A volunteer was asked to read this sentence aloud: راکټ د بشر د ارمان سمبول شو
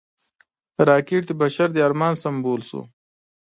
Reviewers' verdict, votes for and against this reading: accepted, 2, 0